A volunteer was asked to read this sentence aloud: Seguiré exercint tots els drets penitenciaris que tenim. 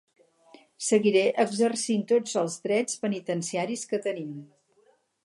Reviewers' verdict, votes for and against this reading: accepted, 4, 0